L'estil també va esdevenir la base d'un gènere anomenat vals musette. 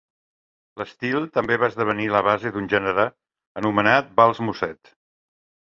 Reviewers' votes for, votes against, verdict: 2, 0, accepted